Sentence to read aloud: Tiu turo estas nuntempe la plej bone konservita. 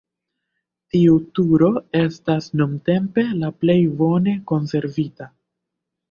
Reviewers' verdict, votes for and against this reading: rejected, 1, 2